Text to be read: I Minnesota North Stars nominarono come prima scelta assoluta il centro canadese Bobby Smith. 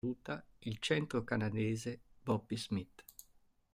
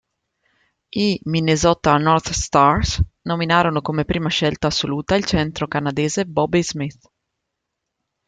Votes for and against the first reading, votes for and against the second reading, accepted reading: 1, 2, 3, 1, second